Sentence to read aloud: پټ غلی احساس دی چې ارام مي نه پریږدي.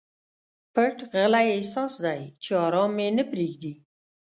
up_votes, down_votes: 2, 0